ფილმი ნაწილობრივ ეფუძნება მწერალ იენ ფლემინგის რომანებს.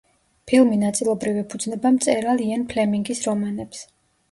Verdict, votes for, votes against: accepted, 2, 0